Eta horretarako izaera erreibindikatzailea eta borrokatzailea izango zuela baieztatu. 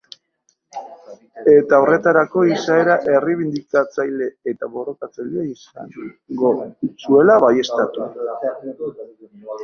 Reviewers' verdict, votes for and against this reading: rejected, 0, 2